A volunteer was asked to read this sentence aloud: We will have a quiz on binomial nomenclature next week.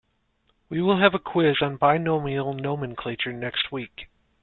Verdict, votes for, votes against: accepted, 2, 0